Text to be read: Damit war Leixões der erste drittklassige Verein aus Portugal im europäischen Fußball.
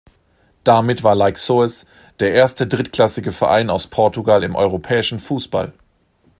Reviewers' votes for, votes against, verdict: 1, 2, rejected